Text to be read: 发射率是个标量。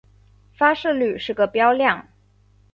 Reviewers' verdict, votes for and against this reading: accepted, 3, 0